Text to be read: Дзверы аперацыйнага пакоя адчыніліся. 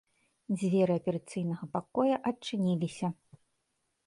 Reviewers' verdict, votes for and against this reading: accepted, 2, 0